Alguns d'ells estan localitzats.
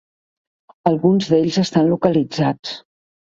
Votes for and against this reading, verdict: 3, 0, accepted